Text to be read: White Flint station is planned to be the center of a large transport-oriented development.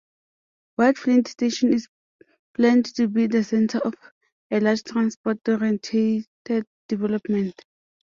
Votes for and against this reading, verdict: 0, 2, rejected